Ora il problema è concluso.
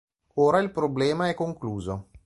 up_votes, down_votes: 3, 0